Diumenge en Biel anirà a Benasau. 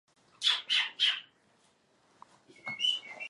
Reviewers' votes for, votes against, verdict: 0, 2, rejected